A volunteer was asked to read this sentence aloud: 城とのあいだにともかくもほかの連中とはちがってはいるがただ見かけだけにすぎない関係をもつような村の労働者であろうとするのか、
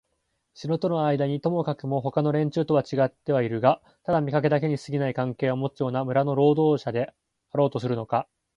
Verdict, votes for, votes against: accepted, 3, 0